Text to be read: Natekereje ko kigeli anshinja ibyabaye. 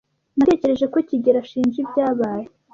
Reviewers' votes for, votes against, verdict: 1, 2, rejected